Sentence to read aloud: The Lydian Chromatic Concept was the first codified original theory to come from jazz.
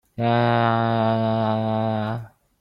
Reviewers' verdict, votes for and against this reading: rejected, 0, 2